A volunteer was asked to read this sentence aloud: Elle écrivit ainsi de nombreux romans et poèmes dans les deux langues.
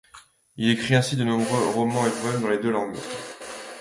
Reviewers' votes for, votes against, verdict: 1, 2, rejected